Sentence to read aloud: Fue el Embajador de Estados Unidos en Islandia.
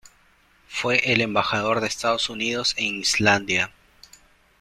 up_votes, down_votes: 2, 1